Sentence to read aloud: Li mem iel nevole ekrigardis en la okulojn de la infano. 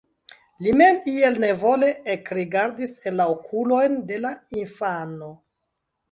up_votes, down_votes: 1, 2